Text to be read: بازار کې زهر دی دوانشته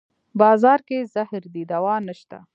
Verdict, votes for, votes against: accepted, 2, 0